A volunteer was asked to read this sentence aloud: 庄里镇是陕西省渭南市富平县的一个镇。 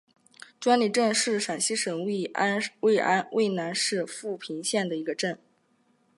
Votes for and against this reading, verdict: 2, 1, accepted